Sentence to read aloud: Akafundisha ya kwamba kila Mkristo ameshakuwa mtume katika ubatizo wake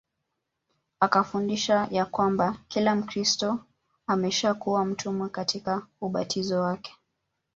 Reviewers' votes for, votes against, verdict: 0, 2, rejected